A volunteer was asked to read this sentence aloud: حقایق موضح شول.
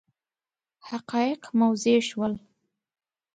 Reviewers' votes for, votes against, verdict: 2, 0, accepted